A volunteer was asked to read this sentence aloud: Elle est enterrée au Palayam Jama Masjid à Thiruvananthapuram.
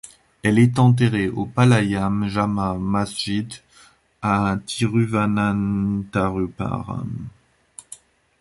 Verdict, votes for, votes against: rejected, 1, 2